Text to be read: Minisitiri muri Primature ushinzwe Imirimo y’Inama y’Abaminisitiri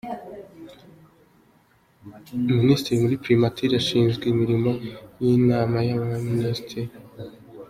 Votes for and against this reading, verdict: 2, 1, accepted